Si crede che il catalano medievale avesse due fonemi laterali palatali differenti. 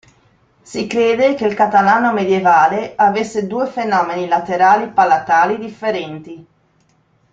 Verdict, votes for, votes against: rejected, 0, 2